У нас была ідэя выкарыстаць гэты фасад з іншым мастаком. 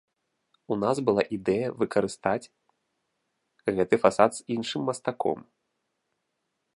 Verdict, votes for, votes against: rejected, 1, 2